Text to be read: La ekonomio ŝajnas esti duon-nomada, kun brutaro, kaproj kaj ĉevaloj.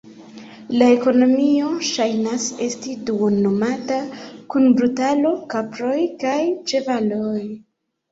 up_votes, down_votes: 1, 2